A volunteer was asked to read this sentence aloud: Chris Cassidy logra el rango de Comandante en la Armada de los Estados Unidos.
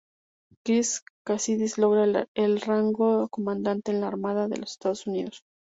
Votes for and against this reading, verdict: 2, 2, rejected